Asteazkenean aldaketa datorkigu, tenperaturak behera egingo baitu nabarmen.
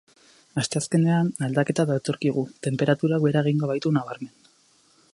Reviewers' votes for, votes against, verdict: 0, 2, rejected